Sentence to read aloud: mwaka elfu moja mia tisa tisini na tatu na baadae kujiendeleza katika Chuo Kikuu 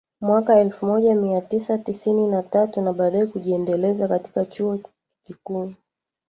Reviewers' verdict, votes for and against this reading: rejected, 1, 2